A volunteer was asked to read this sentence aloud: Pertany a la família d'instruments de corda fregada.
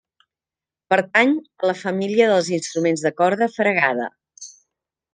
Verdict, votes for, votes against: rejected, 0, 2